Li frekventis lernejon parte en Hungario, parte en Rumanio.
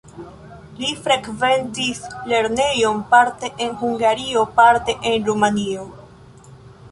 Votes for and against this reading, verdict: 0, 2, rejected